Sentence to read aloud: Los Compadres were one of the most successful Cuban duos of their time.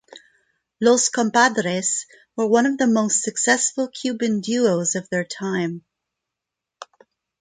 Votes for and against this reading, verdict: 2, 0, accepted